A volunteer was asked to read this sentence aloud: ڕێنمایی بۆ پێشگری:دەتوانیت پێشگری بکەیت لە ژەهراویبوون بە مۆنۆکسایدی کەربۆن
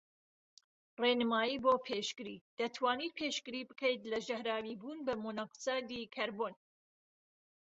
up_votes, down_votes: 2, 0